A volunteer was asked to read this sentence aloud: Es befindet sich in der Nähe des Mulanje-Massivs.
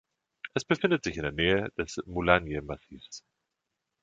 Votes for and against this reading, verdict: 1, 2, rejected